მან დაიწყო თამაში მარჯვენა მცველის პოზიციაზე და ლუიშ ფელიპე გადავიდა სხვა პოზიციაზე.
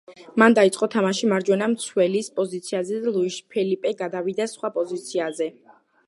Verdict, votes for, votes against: accepted, 2, 0